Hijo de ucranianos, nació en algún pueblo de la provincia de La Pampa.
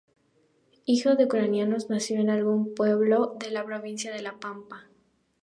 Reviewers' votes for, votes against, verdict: 4, 0, accepted